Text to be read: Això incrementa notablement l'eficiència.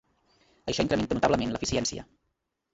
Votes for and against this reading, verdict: 1, 2, rejected